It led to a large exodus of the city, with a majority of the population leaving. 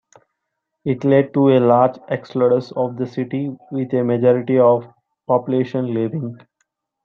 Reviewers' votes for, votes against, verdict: 2, 4, rejected